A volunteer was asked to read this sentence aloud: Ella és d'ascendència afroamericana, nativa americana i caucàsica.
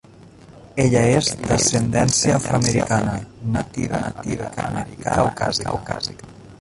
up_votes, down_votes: 0, 2